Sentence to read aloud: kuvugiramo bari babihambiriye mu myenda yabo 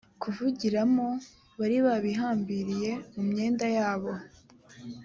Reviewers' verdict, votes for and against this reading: accepted, 2, 0